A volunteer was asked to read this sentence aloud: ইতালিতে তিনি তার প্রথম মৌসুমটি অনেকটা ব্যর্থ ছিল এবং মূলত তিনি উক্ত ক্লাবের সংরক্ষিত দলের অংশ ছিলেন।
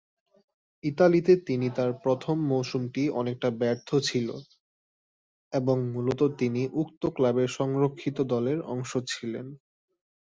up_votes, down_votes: 3, 0